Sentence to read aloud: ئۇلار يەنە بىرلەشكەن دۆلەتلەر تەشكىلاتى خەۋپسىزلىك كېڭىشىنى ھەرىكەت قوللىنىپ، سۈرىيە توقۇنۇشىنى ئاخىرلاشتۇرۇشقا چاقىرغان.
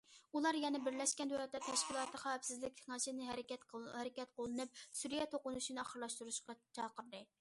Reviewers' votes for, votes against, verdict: 0, 2, rejected